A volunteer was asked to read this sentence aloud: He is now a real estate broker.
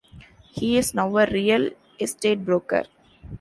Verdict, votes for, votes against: accepted, 2, 0